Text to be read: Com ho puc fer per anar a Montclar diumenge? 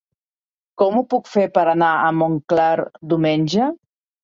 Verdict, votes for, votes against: rejected, 1, 2